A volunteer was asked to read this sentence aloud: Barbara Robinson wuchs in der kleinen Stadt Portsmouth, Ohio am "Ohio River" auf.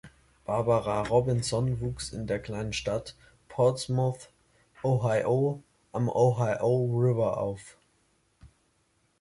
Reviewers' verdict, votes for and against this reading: rejected, 0, 2